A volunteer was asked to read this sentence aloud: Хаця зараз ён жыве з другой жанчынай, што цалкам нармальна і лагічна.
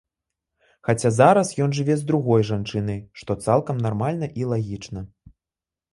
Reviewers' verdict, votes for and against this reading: accepted, 2, 0